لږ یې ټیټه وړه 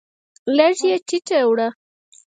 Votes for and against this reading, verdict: 2, 4, rejected